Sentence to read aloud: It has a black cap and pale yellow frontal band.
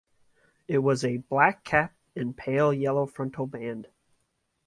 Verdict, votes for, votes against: rejected, 1, 2